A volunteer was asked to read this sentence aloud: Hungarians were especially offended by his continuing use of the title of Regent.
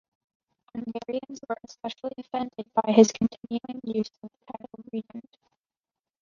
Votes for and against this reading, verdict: 0, 2, rejected